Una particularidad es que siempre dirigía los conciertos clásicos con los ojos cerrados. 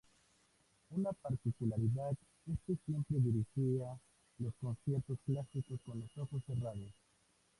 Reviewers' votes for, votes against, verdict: 0, 4, rejected